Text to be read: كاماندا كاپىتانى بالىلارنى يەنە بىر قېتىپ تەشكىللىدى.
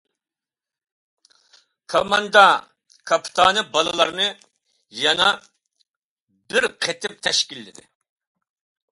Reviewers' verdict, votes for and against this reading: accepted, 2, 0